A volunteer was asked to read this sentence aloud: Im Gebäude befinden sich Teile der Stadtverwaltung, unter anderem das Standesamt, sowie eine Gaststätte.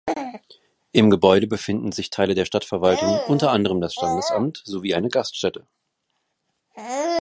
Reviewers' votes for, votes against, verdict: 2, 1, accepted